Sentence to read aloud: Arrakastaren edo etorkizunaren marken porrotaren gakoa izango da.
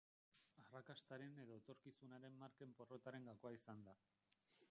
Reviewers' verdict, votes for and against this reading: rejected, 0, 2